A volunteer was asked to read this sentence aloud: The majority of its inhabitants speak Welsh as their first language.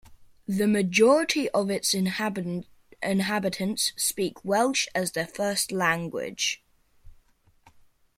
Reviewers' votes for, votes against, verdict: 0, 2, rejected